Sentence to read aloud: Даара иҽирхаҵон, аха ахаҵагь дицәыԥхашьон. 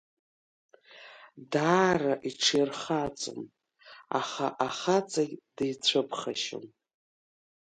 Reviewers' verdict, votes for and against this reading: rejected, 1, 2